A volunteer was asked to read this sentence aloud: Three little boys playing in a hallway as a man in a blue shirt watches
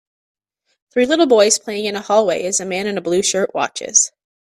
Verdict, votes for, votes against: rejected, 1, 2